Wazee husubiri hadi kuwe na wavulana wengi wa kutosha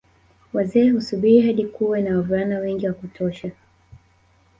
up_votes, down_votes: 2, 0